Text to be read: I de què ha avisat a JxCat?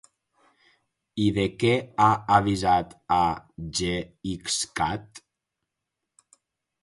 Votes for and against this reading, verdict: 0, 4, rejected